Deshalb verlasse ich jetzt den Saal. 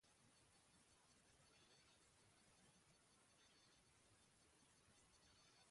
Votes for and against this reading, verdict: 0, 2, rejected